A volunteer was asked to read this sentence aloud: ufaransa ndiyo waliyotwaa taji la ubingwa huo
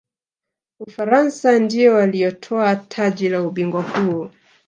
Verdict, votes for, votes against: rejected, 1, 2